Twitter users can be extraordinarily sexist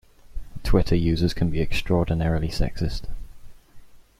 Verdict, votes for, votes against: accepted, 2, 0